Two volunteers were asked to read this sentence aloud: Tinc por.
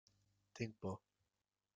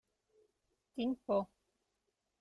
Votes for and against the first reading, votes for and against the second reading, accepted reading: 3, 0, 3, 6, first